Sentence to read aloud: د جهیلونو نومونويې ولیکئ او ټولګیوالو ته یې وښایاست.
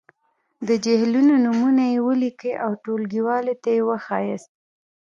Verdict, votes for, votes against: accepted, 2, 1